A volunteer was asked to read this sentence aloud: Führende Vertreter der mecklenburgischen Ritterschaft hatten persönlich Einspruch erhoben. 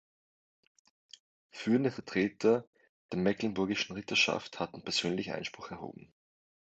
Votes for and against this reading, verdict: 2, 0, accepted